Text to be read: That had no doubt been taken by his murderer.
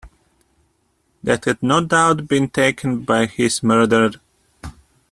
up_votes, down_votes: 0, 2